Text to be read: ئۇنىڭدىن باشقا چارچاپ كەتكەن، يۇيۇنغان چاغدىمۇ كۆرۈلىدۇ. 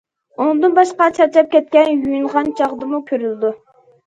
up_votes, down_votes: 2, 0